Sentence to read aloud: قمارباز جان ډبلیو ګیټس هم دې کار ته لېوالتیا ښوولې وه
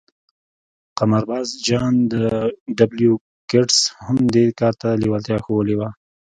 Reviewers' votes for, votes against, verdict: 0, 2, rejected